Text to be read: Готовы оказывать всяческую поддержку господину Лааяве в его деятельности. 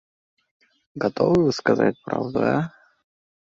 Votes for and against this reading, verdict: 0, 2, rejected